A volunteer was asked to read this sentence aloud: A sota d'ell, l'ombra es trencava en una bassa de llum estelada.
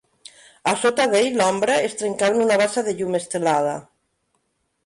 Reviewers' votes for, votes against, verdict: 0, 2, rejected